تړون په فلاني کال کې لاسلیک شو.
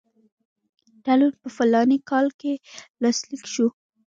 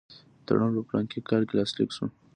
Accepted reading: second